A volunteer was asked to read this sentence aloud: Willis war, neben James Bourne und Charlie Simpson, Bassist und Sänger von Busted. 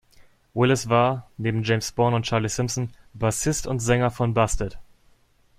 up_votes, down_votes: 2, 0